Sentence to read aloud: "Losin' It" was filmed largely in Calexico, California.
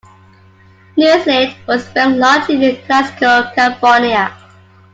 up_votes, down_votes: 1, 2